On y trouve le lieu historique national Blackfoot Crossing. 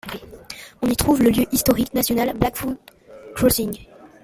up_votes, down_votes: 2, 1